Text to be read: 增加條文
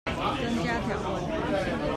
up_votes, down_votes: 1, 2